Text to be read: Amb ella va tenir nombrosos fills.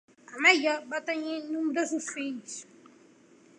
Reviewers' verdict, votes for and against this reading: rejected, 1, 2